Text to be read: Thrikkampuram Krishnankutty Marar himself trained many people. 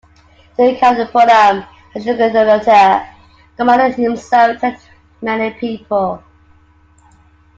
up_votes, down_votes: 0, 2